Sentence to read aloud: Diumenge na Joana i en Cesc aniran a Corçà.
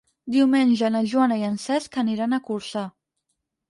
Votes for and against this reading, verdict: 6, 0, accepted